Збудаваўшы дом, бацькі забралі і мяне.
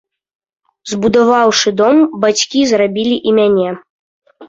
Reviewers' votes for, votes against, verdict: 0, 2, rejected